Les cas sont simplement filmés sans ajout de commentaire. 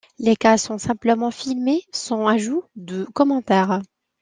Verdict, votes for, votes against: accepted, 2, 0